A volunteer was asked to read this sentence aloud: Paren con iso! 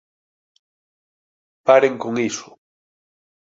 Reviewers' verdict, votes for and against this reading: accepted, 2, 0